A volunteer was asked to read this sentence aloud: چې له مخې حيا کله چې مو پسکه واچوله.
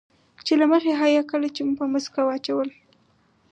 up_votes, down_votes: 4, 0